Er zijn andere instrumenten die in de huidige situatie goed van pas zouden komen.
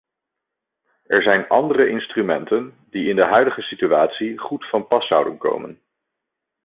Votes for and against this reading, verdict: 2, 0, accepted